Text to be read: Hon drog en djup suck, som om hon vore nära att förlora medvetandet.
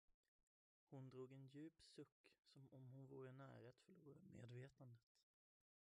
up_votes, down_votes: 0, 2